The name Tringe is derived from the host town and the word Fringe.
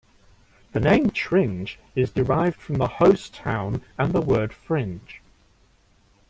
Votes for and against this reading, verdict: 2, 0, accepted